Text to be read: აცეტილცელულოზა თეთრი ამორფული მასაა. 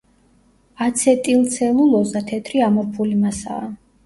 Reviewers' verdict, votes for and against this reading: rejected, 1, 2